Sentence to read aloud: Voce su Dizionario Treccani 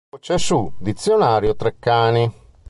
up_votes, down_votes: 1, 2